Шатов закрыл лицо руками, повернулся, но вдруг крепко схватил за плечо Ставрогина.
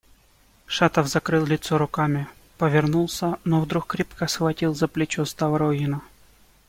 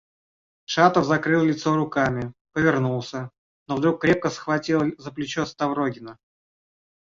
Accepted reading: first